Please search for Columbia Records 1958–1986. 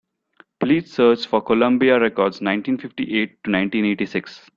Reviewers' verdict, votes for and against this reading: rejected, 0, 2